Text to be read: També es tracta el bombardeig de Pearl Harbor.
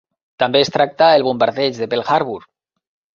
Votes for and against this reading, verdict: 2, 0, accepted